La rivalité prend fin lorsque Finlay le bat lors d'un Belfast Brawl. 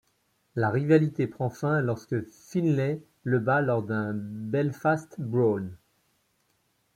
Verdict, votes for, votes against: rejected, 1, 2